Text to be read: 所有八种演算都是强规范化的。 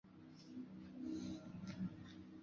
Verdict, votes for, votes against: rejected, 0, 2